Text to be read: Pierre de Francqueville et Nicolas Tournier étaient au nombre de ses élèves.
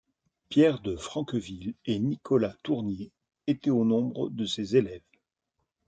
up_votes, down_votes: 2, 0